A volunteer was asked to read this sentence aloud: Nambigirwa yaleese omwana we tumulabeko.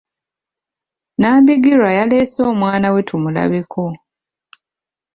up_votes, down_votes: 2, 1